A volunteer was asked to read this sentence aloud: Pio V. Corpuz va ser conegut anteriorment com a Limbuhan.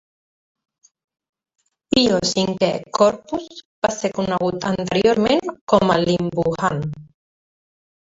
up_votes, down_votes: 0, 2